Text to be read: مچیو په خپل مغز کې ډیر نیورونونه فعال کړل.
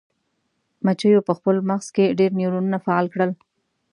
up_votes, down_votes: 2, 0